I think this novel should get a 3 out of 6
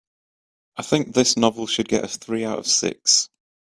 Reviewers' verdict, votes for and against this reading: rejected, 0, 2